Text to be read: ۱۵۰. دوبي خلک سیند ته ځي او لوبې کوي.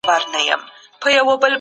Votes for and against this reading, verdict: 0, 2, rejected